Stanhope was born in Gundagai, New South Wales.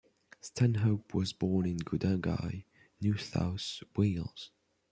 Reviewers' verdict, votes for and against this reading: rejected, 1, 2